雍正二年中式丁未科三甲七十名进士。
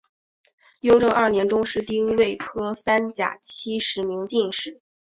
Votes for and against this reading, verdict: 2, 0, accepted